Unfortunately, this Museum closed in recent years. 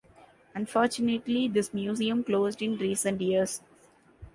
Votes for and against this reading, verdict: 3, 0, accepted